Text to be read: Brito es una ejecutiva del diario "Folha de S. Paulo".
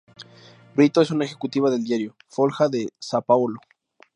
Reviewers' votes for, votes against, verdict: 0, 2, rejected